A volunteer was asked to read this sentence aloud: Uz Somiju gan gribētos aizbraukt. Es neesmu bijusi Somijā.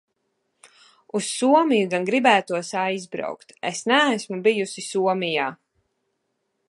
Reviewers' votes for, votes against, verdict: 2, 0, accepted